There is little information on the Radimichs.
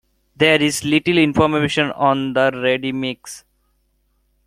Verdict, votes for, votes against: accepted, 2, 0